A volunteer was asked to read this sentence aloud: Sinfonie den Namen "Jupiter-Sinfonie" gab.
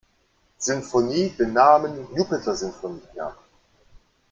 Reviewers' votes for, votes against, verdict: 1, 2, rejected